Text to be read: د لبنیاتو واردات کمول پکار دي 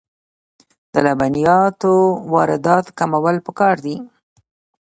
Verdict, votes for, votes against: rejected, 1, 2